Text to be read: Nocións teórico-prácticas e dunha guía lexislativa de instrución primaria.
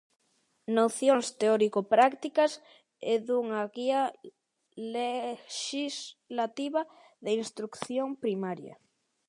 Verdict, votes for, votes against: rejected, 0, 2